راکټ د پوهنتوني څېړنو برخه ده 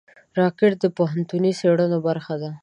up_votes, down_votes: 2, 0